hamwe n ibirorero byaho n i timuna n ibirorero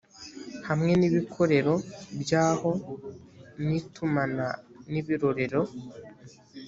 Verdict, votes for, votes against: rejected, 0, 2